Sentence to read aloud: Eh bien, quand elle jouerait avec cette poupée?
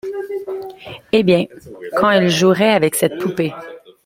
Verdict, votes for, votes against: rejected, 0, 2